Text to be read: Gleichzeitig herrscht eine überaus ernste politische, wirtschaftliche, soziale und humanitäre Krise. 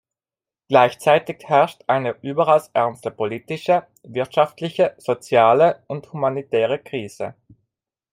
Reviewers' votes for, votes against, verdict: 2, 1, accepted